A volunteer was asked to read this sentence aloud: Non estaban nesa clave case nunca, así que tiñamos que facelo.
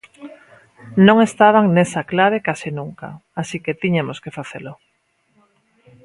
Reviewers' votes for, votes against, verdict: 0, 2, rejected